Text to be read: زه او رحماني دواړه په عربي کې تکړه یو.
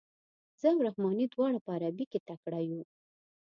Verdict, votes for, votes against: accepted, 2, 1